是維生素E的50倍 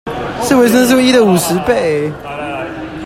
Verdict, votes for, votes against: rejected, 0, 2